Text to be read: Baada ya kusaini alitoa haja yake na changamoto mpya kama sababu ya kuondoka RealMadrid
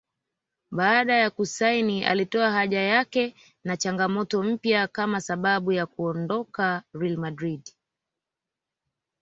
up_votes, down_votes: 2, 0